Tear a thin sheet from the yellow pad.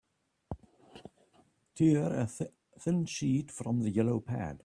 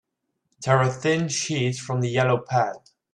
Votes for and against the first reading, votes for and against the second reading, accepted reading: 1, 2, 2, 0, second